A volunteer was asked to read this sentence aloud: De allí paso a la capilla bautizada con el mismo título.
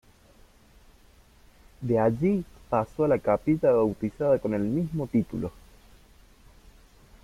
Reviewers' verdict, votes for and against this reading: rejected, 0, 2